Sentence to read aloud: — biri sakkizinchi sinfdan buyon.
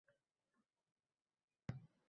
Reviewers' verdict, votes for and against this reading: rejected, 0, 4